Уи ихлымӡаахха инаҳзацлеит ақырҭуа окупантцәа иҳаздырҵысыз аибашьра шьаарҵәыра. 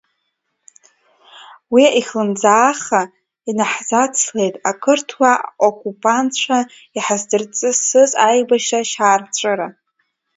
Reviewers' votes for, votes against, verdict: 2, 0, accepted